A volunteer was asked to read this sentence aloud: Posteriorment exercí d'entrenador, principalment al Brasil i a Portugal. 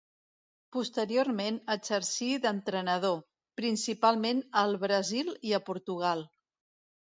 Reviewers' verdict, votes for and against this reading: accepted, 2, 0